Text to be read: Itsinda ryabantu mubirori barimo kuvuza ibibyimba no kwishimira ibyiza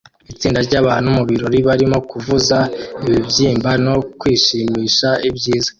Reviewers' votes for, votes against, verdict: 2, 1, accepted